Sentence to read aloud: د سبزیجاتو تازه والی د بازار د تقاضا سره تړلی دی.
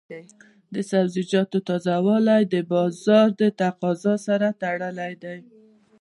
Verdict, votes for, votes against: accepted, 2, 0